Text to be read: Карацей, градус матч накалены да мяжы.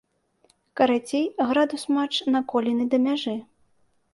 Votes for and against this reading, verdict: 1, 2, rejected